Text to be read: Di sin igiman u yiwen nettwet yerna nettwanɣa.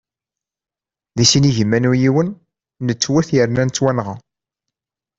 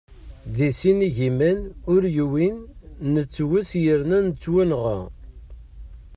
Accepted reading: first